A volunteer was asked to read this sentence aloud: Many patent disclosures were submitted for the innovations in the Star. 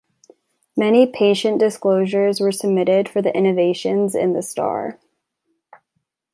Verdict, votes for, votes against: rejected, 0, 2